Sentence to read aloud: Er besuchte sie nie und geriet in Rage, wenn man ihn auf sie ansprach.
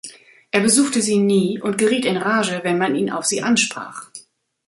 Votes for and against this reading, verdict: 2, 0, accepted